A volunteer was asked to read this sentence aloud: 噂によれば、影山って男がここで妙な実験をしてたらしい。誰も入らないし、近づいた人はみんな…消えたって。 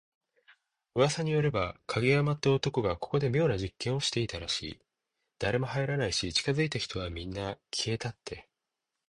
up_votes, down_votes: 2, 0